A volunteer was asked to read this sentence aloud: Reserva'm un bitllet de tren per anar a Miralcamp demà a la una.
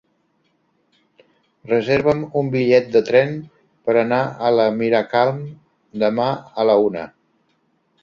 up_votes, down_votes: 0, 2